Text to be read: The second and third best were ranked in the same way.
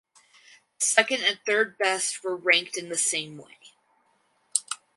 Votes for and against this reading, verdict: 2, 4, rejected